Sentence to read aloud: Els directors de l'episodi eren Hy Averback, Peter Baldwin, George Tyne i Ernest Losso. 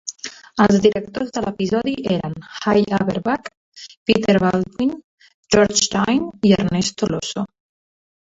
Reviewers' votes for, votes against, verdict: 1, 2, rejected